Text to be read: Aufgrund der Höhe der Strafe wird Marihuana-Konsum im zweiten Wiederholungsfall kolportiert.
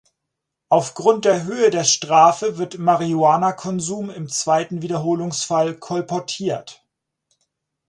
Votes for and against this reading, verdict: 4, 0, accepted